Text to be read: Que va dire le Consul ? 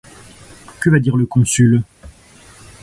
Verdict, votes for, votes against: accepted, 2, 0